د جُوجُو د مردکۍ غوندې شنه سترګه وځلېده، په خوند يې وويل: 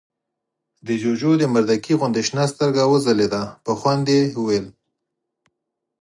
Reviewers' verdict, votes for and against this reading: accepted, 4, 0